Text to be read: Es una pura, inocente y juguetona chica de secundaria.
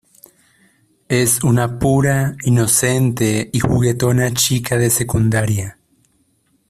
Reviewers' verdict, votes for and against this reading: accepted, 2, 0